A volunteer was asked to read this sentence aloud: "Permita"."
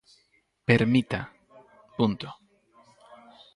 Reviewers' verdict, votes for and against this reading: rejected, 2, 2